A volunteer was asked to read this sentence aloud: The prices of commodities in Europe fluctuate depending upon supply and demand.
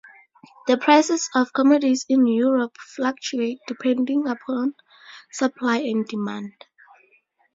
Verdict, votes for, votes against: rejected, 2, 2